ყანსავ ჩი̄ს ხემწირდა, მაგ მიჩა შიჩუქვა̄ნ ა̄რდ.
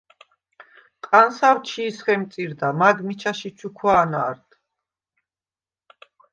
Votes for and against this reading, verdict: 2, 0, accepted